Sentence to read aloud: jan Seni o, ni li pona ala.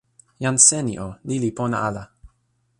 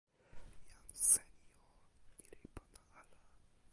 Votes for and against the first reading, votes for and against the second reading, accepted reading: 2, 0, 1, 2, first